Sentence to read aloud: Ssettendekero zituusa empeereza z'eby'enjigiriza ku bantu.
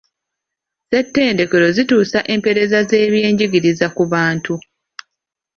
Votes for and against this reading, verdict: 2, 1, accepted